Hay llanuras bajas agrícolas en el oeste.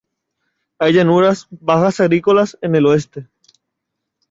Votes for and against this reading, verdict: 2, 0, accepted